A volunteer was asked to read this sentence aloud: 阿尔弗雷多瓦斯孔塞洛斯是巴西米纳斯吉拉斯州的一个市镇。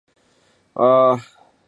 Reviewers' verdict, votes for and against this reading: rejected, 0, 4